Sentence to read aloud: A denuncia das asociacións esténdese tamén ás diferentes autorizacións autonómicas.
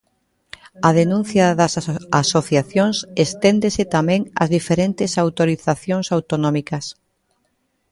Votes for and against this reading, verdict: 1, 2, rejected